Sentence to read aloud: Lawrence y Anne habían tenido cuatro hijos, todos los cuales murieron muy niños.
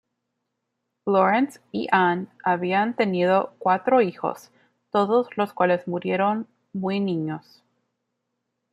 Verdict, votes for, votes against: accepted, 2, 0